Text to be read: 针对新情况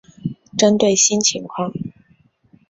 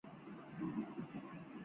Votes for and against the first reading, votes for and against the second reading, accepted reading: 3, 0, 0, 2, first